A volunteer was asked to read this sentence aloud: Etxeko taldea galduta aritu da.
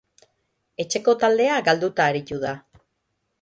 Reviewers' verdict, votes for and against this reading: rejected, 3, 3